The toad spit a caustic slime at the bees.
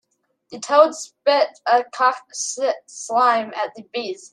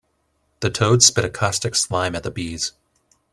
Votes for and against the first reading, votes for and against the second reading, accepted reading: 1, 2, 2, 0, second